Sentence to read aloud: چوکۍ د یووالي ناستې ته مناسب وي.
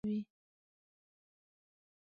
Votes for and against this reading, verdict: 0, 2, rejected